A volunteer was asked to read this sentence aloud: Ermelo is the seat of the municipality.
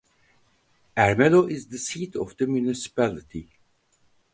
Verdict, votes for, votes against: accepted, 2, 0